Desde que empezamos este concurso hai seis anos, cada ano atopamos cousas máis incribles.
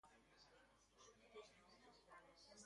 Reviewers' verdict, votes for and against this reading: rejected, 0, 2